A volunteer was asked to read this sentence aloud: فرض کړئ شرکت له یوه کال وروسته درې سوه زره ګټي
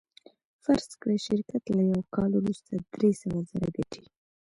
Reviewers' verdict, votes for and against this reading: accepted, 2, 0